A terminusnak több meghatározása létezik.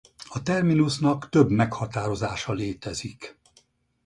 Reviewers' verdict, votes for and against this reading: rejected, 2, 2